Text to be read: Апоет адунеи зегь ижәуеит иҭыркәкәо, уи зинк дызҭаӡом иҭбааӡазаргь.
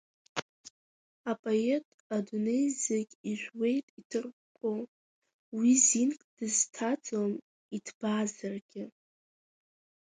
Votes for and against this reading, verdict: 2, 3, rejected